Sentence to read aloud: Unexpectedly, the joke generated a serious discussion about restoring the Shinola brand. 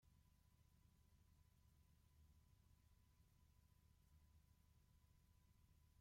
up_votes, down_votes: 0, 2